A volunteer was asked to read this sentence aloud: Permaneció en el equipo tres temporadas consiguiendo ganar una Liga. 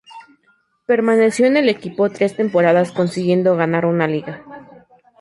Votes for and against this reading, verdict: 4, 0, accepted